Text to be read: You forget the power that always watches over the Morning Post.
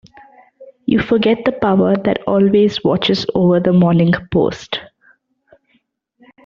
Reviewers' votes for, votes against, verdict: 2, 0, accepted